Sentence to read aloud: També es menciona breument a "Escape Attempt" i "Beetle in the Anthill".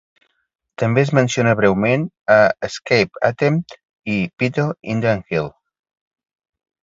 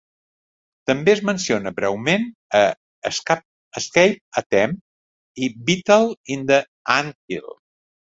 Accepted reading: first